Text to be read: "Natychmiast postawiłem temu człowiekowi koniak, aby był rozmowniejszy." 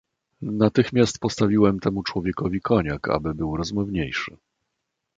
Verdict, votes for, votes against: accepted, 2, 0